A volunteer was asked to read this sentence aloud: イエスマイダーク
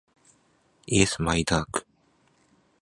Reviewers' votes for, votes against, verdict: 2, 0, accepted